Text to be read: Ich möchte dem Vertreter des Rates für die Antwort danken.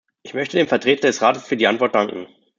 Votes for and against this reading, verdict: 2, 0, accepted